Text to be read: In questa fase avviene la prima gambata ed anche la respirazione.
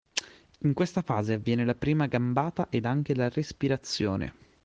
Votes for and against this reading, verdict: 2, 0, accepted